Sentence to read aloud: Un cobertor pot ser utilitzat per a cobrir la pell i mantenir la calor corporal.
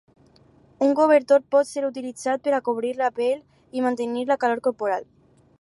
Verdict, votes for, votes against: accepted, 6, 0